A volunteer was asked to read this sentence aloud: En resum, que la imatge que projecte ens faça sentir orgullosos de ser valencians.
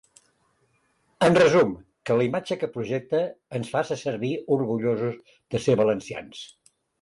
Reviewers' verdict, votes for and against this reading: rejected, 0, 2